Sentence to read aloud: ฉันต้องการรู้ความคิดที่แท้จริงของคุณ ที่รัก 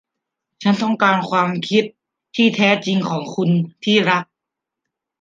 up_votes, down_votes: 0, 2